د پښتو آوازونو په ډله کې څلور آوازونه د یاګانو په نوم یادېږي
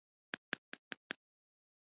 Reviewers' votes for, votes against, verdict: 1, 2, rejected